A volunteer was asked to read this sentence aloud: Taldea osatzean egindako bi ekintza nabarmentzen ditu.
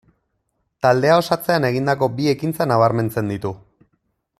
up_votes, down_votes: 2, 0